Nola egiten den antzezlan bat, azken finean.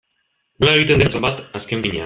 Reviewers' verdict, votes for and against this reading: rejected, 0, 2